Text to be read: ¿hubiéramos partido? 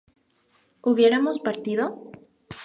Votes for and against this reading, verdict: 2, 0, accepted